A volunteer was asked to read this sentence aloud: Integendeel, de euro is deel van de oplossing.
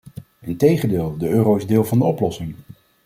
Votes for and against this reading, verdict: 2, 0, accepted